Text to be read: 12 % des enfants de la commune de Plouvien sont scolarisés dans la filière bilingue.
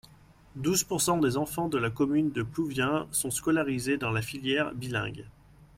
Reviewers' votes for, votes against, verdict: 0, 2, rejected